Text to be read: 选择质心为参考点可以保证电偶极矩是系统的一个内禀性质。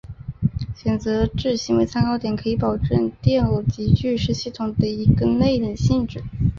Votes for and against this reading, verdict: 3, 1, accepted